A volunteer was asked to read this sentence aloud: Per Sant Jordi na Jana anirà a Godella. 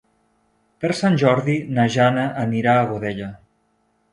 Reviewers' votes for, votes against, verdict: 2, 0, accepted